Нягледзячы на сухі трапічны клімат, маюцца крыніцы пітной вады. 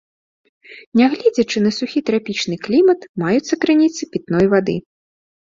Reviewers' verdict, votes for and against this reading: accepted, 2, 0